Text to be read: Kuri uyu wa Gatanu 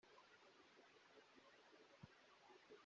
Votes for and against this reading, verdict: 0, 2, rejected